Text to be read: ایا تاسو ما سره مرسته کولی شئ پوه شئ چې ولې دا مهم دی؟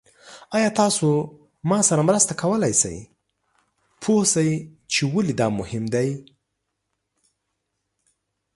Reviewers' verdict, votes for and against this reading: rejected, 1, 2